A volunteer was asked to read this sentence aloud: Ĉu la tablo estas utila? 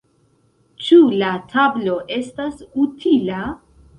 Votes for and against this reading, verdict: 1, 2, rejected